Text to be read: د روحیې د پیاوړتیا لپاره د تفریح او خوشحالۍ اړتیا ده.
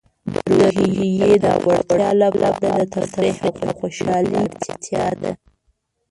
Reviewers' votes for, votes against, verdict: 1, 2, rejected